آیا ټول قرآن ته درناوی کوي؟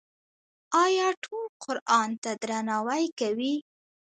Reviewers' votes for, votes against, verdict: 0, 2, rejected